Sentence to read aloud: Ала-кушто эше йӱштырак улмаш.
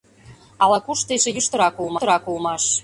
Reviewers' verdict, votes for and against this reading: rejected, 0, 2